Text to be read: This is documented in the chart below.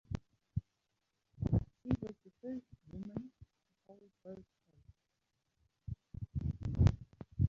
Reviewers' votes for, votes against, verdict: 0, 2, rejected